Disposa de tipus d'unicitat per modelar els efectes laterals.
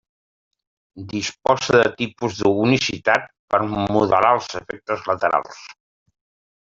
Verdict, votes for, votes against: rejected, 1, 2